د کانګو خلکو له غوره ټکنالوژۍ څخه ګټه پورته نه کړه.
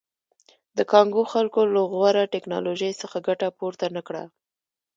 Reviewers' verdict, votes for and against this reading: rejected, 1, 2